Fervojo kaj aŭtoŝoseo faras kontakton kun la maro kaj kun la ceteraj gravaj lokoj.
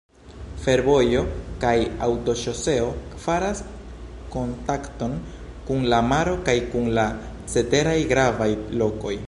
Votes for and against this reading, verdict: 2, 0, accepted